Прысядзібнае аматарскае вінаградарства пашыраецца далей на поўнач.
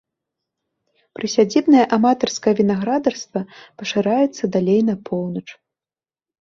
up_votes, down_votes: 2, 0